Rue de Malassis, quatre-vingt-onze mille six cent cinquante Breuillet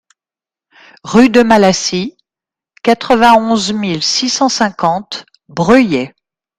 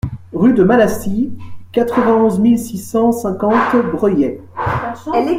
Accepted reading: first